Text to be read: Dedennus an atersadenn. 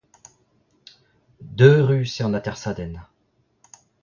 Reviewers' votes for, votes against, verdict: 0, 2, rejected